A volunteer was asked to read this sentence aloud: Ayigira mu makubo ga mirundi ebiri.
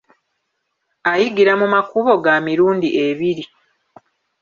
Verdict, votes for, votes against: accepted, 3, 1